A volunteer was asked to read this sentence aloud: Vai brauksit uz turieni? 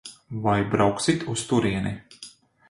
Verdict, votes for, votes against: accepted, 2, 0